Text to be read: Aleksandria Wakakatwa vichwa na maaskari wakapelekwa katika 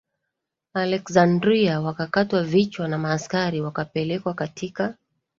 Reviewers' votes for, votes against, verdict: 3, 2, accepted